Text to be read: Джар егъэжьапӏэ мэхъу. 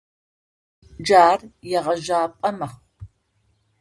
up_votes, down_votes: 0, 2